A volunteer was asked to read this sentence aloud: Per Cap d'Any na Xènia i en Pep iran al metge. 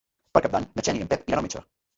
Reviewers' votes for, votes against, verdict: 0, 2, rejected